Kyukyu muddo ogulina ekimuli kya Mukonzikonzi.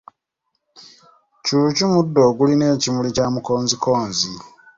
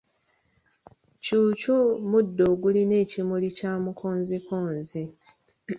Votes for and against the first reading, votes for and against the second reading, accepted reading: 1, 2, 2, 0, second